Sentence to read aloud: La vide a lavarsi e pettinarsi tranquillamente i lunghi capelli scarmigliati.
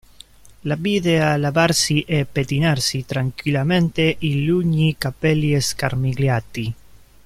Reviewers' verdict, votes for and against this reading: rejected, 0, 2